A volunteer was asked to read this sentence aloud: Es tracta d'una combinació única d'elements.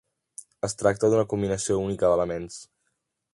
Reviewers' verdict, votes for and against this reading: accepted, 2, 0